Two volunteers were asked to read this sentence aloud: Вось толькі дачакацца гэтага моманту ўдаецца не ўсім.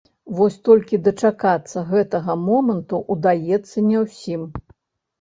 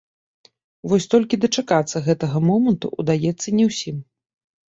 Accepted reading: second